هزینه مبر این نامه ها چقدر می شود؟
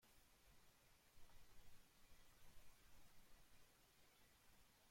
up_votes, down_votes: 1, 2